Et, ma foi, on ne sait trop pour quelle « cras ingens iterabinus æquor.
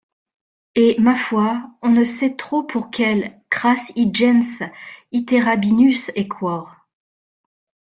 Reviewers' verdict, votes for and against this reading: accepted, 2, 0